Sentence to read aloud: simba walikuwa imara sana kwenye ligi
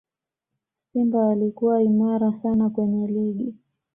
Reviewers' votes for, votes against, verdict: 2, 0, accepted